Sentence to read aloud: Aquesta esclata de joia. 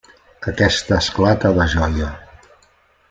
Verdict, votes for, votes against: accepted, 3, 0